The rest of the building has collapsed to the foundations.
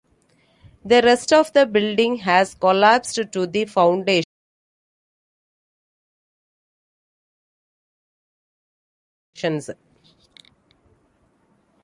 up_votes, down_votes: 0, 2